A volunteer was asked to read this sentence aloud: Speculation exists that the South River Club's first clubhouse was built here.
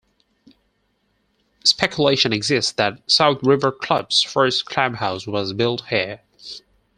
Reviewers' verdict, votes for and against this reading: accepted, 4, 2